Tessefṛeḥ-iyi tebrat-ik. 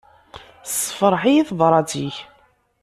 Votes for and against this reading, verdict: 2, 0, accepted